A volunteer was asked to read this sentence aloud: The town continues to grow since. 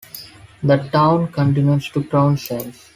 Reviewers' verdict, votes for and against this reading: accepted, 2, 1